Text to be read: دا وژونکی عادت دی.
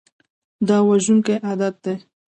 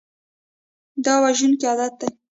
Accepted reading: first